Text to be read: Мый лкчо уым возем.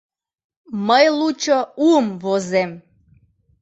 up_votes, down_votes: 1, 2